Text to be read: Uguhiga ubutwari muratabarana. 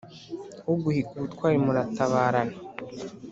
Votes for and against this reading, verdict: 3, 0, accepted